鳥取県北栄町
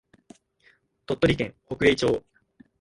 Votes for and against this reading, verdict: 5, 1, accepted